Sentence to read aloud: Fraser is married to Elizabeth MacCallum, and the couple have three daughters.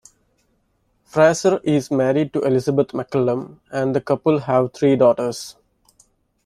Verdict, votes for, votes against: rejected, 1, 2